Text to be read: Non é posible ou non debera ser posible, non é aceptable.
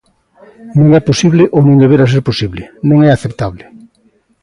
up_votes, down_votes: 2, 1